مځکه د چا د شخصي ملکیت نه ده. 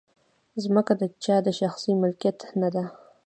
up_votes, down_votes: 2, 0